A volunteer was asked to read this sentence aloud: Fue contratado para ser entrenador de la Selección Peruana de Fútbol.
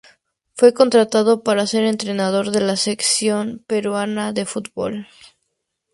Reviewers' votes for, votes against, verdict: 2, 0, accepted